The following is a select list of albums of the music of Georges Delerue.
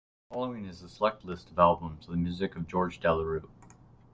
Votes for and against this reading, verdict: 0, 2, rejected